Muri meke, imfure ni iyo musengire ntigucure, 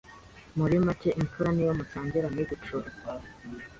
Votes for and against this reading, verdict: 1, 2, rejected